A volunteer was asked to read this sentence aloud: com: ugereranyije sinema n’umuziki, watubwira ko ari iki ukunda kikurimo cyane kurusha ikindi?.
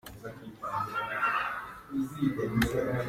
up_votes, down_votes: 0, 2